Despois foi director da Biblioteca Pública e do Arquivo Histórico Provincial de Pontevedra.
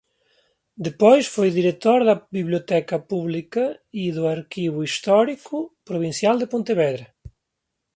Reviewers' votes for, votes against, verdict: 0, 2, rejected